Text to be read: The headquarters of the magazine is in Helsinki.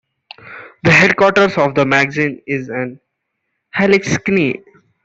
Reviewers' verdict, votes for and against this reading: rejected, 0, 2